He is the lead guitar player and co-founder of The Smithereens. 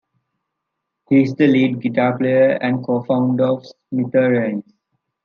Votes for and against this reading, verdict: 1, 2, rejected